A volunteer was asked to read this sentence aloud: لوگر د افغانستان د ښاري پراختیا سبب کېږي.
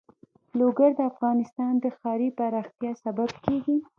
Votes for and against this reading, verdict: 0, 2, rejected